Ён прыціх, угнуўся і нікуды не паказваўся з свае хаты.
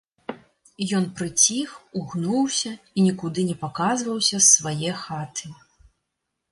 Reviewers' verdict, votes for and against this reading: accepted, 2, 0